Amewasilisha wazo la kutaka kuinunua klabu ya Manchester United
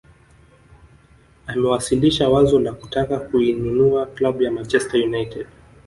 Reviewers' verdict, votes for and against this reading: rejected, 1, 2